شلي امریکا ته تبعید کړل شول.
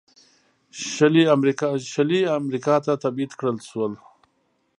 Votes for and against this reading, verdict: 3, 0, accepted